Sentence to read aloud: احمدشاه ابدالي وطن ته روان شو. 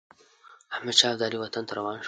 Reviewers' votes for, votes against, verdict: 2, 0, accepted